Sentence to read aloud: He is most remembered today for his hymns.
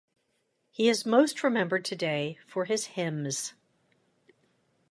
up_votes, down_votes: 2, 0